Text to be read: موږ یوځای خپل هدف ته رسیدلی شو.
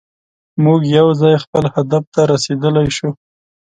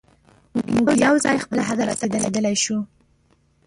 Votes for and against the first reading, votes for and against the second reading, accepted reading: 2, 0, 0, 6, first